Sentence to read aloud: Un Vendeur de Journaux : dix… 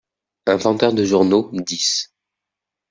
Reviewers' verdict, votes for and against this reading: accepted, 2, 0